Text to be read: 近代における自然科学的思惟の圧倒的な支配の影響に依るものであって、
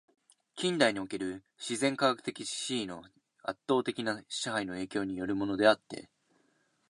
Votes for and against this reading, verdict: 2, 0, accepted